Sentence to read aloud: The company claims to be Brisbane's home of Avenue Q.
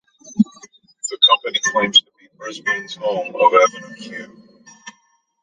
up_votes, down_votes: 2, 0